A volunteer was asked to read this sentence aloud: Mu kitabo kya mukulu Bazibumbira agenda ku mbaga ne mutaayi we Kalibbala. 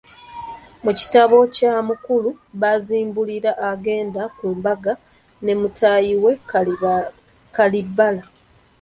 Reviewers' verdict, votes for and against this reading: rejected, 0, 2